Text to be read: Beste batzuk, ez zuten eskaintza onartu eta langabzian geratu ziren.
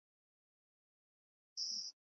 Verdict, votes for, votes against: rejected, 0, 4